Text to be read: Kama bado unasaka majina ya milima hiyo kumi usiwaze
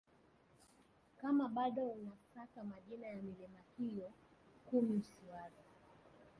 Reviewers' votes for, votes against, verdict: 1, 2, rejected